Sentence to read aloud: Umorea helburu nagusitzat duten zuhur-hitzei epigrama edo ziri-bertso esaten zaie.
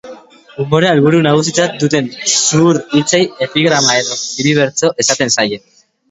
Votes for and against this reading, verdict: 1, 2, rejected